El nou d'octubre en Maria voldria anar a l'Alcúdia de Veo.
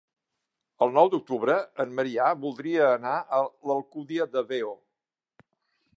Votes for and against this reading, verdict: 1, 2, rejected